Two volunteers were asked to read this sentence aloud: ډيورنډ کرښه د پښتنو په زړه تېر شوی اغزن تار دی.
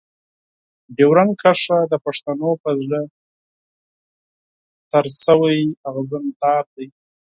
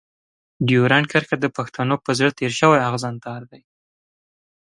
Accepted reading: second